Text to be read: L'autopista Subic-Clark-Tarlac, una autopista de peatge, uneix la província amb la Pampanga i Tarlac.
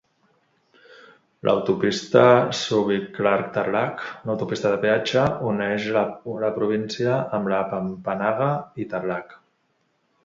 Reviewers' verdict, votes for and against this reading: rejected, 0, 2